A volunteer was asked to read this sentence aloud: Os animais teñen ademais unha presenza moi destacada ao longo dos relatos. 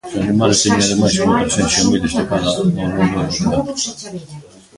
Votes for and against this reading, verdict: 0, 2, rejected